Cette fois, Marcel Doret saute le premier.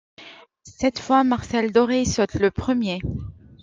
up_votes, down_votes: 2, 0